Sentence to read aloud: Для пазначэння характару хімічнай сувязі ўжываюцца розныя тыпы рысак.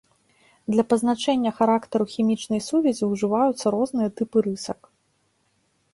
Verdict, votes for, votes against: accepted, 2, 0